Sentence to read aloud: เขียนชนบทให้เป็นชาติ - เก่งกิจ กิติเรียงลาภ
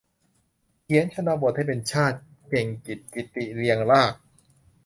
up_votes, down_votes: 2, 0